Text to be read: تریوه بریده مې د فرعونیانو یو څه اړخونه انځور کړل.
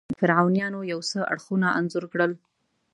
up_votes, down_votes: 1, 2